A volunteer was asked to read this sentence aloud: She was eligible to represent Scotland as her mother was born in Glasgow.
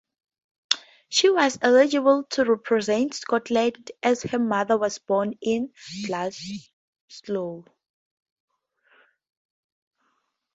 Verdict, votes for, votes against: rejected, 0, 2